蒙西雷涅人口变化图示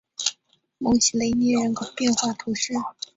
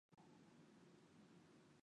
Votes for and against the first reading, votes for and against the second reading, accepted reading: 2, 0, 0, 4, first